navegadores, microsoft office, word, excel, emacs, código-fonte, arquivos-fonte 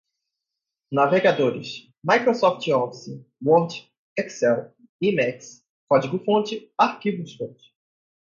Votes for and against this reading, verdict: 2, 0, accepted